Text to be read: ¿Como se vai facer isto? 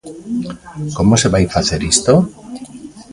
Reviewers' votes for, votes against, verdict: 2, 1, accepted